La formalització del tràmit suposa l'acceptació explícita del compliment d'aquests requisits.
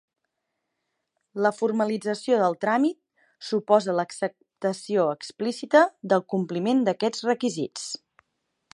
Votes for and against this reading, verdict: 2, 0, accepted